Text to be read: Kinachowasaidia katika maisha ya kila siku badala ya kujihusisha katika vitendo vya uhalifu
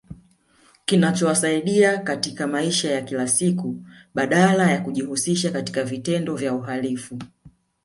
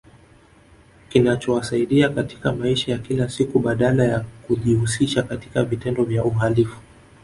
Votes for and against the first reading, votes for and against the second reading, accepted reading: 0, 2, 3, 1, second